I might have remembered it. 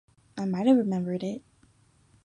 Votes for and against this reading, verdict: 0, 2, rejected